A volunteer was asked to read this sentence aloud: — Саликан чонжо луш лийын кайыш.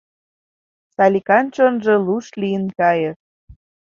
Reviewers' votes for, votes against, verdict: 2, 0, accepted